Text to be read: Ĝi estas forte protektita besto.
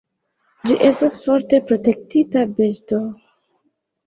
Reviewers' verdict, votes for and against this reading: accepted, 2, 1